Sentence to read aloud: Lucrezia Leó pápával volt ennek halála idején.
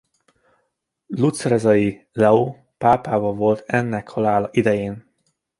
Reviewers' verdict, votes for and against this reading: rejected, 0, 2